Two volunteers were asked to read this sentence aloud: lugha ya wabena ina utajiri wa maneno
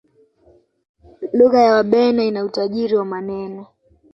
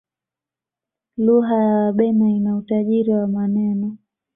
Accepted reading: second